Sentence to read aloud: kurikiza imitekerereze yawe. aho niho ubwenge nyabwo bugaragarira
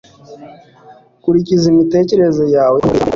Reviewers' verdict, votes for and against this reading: rejected, 1, 2